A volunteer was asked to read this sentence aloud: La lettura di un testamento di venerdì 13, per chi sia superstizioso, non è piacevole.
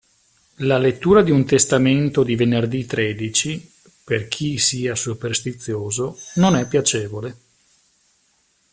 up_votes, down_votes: 0, 2